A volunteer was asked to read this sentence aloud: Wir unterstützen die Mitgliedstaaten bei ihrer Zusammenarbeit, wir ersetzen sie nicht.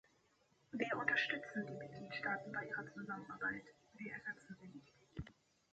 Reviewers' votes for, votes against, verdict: 0, 2, rejected